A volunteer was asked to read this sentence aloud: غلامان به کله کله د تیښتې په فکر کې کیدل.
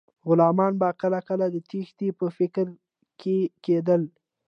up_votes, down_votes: 2, 0